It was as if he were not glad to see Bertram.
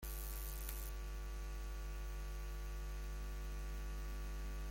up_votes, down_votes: 0, 2